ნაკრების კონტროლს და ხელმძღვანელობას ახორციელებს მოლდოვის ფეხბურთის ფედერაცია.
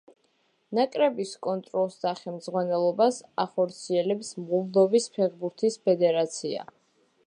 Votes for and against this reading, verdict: 2, 0, accepted